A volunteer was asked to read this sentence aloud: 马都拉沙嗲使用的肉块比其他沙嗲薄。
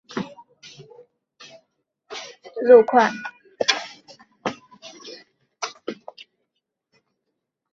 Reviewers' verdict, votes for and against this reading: rejected, 2, 8